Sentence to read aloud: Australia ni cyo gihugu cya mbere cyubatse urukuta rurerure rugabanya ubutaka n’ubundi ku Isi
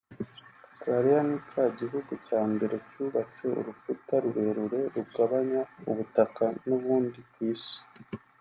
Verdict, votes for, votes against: rejected, 0, 2